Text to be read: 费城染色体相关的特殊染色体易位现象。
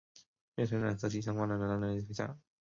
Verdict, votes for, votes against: rejected, 0, 2